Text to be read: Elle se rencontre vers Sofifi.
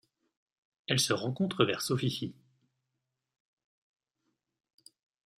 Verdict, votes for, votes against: accepted, 2, 0